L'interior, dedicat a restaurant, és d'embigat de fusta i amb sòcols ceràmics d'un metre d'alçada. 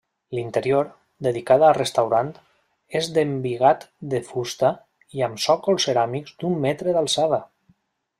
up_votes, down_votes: 2, 0